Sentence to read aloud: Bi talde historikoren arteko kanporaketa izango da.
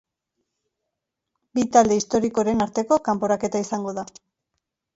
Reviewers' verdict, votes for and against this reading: accepted, 2, 0